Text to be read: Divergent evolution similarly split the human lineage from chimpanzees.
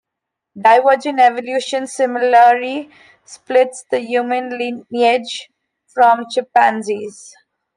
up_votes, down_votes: 0, 2